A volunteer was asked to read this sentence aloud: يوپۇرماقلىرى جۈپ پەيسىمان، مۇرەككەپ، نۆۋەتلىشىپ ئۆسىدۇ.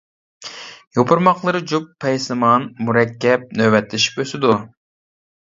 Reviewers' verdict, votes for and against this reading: accepted, 2, 0